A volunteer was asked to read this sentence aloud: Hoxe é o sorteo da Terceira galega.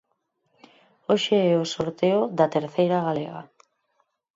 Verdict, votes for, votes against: accepted, 4, 0